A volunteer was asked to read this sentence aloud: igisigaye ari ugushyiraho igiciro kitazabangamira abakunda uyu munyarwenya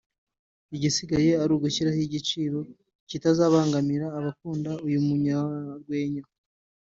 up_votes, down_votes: 2, 0